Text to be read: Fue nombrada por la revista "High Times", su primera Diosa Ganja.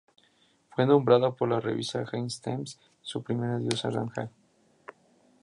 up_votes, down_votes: 0, 2